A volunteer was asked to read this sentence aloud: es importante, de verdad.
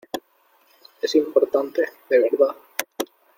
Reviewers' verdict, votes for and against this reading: accepted, 2, 1